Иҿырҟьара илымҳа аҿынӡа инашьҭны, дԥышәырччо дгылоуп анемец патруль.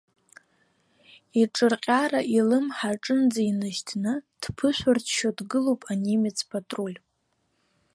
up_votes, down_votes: 2, 0